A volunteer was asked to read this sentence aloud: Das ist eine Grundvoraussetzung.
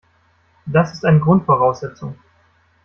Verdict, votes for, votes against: rejected, 1, 2